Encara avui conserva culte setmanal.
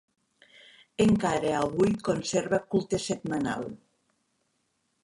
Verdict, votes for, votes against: accepted, 3, 0